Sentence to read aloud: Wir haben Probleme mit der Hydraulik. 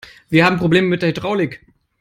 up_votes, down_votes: 3, 0